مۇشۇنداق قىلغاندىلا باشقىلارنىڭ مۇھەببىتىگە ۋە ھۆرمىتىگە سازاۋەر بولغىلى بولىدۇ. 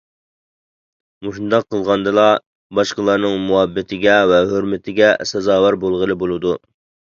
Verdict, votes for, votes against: accepted, 2, 0